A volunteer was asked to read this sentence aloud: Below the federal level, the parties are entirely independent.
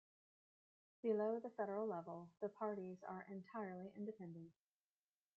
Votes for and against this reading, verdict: 1, 2, rejected